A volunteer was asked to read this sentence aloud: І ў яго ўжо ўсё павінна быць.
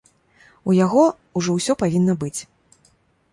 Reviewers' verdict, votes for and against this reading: rejected, 0, 2